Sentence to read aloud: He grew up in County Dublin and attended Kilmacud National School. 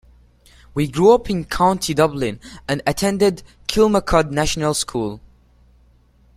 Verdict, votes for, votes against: rejected, 0, 2